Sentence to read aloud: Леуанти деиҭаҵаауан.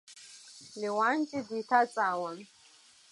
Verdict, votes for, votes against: accepted, 2, 0